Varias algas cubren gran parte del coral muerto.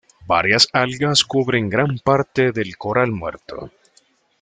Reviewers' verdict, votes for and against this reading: accepted, 2, 0